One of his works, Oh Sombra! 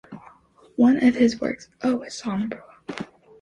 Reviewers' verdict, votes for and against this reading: accepted, 2, 1